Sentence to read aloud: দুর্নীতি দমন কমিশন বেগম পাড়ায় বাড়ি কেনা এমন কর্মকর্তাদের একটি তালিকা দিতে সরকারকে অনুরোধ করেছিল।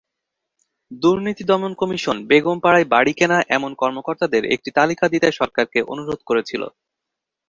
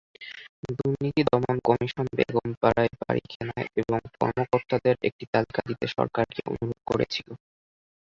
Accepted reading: first